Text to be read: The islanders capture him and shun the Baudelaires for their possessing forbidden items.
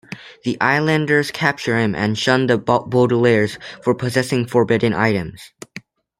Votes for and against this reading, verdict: 2, 1, accepted